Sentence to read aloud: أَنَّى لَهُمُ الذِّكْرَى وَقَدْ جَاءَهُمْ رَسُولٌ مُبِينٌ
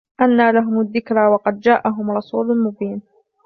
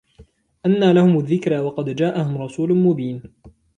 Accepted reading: first